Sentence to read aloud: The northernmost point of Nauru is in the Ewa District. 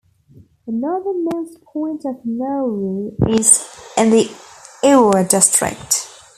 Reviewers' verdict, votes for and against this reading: rejected, 0, 2